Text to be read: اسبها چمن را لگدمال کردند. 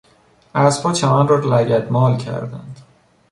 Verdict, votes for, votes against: accepted, 2, 1